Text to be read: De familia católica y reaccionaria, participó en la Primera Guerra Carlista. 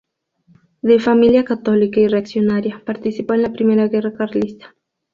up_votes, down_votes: 2, 0